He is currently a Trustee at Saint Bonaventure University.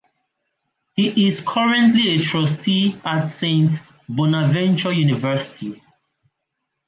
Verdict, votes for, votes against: accepted, 2, 0